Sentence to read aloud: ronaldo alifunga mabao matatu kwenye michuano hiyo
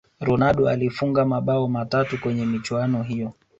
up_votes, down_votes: 5, 0